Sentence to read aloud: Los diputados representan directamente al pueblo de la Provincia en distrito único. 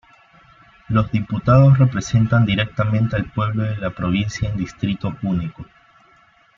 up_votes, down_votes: 1, 2